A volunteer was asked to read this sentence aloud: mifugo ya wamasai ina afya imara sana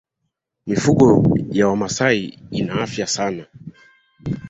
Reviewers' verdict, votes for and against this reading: rejected, 0, 2